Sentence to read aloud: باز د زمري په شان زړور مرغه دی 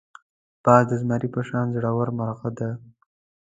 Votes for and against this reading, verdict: 0, 2, rejected